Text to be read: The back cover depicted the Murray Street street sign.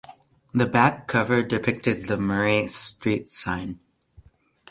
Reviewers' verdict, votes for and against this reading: rejected, 1, 2